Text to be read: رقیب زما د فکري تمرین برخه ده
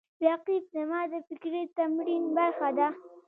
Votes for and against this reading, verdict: 2, 0, accepted